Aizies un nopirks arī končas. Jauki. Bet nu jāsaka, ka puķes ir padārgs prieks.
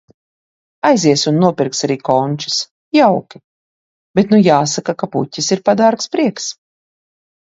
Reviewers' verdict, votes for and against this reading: accepted, 2, 0